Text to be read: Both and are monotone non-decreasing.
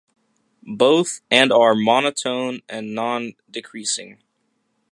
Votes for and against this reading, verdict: 0, 2, rejected